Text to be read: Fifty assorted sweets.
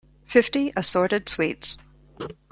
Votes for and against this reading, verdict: 2, 0, accepted